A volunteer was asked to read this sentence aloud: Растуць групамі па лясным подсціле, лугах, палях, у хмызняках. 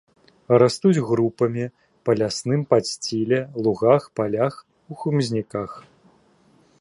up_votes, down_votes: 0, 2